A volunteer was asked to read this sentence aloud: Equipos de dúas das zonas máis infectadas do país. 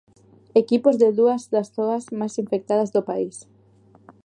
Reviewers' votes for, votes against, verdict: 1, 2, rejected